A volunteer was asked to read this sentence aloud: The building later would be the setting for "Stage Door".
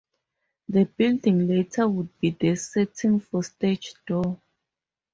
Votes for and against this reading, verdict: 4, 2, accepted